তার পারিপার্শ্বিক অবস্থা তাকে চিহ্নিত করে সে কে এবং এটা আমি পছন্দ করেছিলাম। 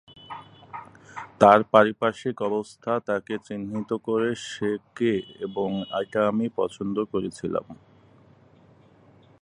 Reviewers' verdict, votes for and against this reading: accepted, 6, 4